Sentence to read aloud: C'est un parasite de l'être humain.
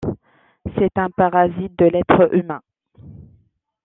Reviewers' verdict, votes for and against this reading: rejected, 0, 2